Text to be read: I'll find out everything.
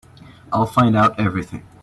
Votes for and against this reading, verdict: 3, 0, accepted